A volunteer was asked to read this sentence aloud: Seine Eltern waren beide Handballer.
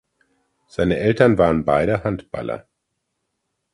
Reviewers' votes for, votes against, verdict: 2, 0, accepted